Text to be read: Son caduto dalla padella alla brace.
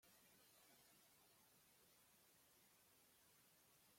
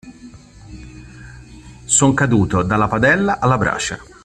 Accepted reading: second